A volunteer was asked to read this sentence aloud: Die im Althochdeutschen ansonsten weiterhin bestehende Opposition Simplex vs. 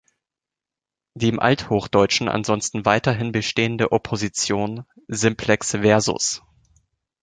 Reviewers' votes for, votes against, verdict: 2, 0, accepted